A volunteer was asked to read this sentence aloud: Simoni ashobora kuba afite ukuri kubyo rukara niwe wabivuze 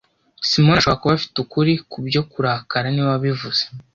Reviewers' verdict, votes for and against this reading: rejected, 1, 2